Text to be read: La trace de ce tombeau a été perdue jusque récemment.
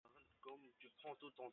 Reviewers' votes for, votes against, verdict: 0, 2, rejected